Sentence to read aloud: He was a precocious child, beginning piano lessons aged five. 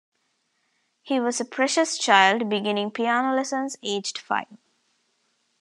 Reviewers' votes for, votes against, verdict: 1, 2, rejected